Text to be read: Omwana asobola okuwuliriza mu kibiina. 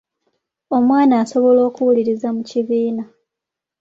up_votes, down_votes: 2, 0